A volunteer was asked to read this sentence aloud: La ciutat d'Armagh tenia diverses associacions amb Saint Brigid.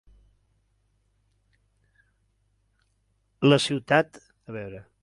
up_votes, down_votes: 0, 2